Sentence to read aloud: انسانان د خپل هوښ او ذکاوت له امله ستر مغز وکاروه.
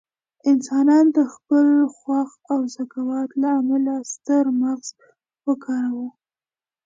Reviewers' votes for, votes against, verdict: 2, 1, accepted